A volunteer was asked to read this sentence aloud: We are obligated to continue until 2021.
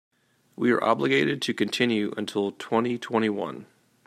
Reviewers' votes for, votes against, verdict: 0, 2, rejected